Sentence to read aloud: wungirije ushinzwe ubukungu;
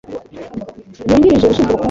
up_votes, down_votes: 0, 2